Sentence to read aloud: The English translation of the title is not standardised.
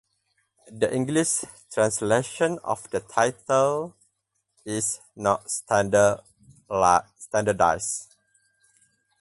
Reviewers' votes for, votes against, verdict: 0, 4, rejected